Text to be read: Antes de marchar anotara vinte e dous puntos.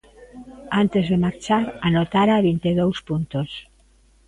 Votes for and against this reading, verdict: 2, 0, accepted